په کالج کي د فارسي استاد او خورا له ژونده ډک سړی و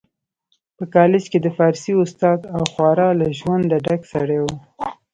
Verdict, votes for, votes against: accepted, 2, 0